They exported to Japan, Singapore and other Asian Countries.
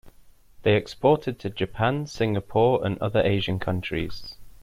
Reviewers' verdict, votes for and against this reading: accepted, 2, 0